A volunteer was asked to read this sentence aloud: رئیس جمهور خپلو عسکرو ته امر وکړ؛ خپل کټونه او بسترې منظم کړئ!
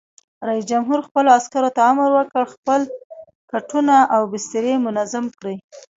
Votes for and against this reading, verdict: 0, 2, rejected